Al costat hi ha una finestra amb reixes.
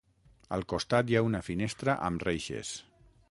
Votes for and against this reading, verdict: 6, 0, accepted